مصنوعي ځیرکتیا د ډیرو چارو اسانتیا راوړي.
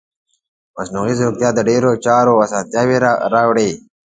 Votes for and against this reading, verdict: 2, 1, accepted